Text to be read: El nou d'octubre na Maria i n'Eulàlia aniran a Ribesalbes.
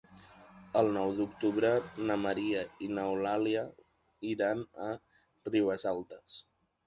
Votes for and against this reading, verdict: 1, 2, rejected